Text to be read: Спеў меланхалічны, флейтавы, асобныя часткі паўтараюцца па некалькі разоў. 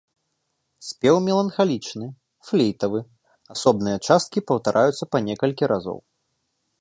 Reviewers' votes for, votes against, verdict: 0, 2, rejected